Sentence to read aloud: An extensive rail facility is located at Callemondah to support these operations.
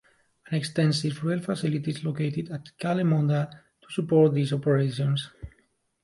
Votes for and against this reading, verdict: 1, 2, rejected